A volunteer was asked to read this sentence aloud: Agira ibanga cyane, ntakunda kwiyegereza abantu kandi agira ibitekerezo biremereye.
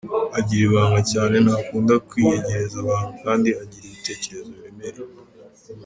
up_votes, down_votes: 2, 1